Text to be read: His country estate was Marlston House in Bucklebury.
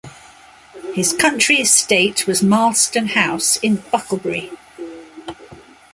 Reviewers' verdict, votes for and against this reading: accepted, 2, 0